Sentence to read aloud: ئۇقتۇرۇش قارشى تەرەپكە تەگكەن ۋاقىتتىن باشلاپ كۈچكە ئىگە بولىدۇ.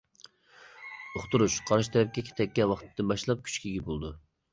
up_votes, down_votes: 0, 2